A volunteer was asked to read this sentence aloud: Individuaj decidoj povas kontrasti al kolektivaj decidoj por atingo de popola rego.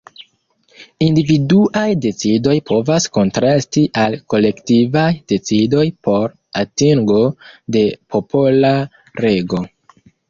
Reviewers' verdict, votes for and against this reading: rejected, 1, 2